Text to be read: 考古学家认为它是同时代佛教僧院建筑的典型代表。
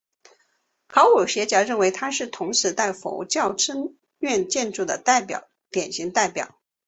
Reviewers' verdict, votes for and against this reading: rejected, 0, 2